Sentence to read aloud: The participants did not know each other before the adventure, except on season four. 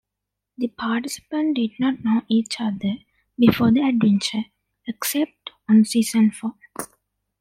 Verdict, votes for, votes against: rejected, 1, 2